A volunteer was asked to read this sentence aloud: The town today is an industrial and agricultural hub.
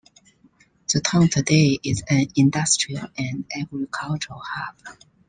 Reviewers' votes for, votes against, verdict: 2, 0, accepted